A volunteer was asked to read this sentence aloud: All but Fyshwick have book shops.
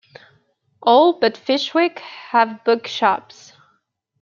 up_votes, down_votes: 2, 0